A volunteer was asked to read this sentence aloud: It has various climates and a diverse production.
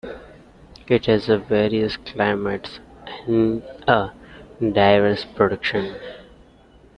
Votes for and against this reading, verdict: 0, 2, rejected